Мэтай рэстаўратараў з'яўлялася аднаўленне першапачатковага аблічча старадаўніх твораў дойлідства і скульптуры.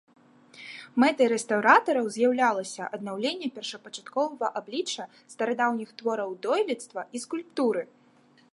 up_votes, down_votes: 2, 0